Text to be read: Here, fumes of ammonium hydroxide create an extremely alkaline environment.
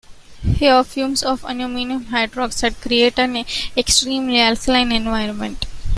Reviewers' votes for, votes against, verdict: 2, 0, accepted